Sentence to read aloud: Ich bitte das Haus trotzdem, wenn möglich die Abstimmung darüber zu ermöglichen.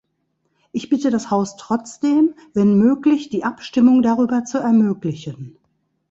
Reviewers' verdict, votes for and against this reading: accepted, 2, 0